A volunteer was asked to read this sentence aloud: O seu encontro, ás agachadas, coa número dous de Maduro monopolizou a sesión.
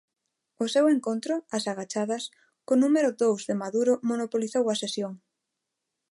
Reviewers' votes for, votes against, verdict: 0, 2, rejected